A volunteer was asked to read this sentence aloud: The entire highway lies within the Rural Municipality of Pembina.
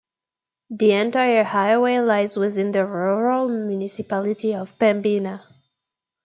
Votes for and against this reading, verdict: 2, 0, accepted